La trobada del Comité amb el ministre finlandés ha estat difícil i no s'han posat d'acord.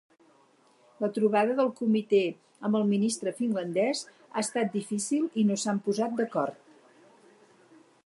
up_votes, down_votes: 6, 0